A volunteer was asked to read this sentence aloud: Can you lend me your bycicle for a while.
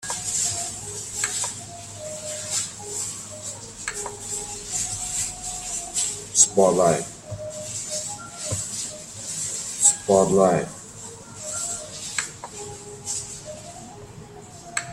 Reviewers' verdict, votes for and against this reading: rejected, 0, 2